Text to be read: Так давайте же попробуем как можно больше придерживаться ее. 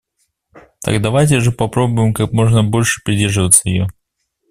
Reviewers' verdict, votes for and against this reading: accepted, 2, 0